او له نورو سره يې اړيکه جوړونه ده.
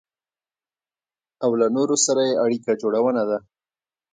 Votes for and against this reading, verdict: 2, 0, accepted